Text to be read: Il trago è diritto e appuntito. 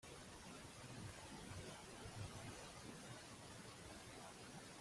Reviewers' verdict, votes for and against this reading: rejected, 0, 2